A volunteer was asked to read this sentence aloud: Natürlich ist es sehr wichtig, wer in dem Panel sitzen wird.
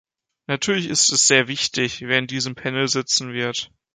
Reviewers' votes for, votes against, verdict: 1, 3, rejected